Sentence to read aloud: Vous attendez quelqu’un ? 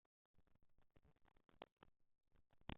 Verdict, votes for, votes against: rejected, 0, 2